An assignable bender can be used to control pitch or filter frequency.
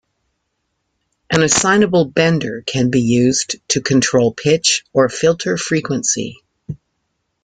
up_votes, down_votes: 2, 1